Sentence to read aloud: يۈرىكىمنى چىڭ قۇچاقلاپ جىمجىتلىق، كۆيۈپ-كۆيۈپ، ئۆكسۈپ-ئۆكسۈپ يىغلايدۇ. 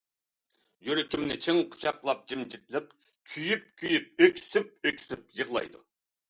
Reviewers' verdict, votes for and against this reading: accepted, 2, 0